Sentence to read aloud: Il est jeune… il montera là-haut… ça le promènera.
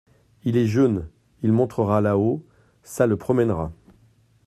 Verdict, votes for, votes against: accepted, 2, 0